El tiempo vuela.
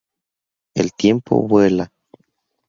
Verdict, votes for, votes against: accepted, 2, 0